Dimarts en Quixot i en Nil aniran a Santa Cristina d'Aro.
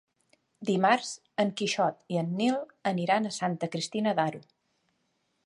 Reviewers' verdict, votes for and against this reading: accepted, 3, 0